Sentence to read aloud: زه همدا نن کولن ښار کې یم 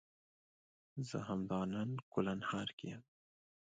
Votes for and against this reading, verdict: 1, 2, rejected